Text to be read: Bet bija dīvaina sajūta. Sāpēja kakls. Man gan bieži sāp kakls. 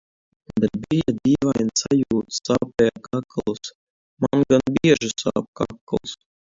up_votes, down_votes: 0, 2